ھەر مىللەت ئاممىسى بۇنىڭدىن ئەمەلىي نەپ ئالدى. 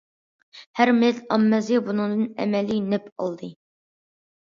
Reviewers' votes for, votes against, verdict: 2, 0, accepted